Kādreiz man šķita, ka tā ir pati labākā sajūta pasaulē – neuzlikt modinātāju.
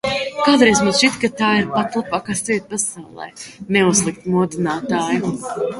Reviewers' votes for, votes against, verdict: 0, 2, rejected